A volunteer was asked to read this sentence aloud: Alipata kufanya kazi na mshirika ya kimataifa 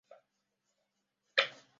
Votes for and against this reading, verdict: 1, 2, rejected